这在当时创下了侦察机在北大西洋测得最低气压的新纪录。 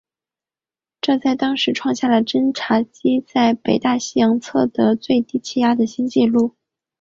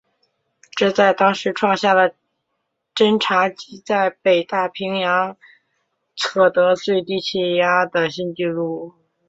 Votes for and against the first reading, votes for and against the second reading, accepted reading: 8, 1, 2, 3, first